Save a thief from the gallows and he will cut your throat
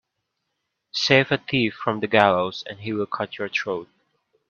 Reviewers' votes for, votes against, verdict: 2, 0, accepted